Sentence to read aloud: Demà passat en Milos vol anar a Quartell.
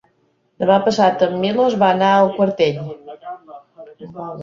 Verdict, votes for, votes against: rejected, 1, 2